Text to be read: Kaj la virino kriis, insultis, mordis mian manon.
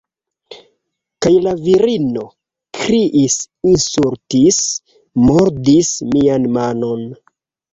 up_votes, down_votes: 0, 2